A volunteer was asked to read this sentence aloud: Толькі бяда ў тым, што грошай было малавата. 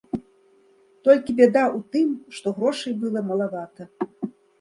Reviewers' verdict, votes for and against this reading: rejected, 1, 2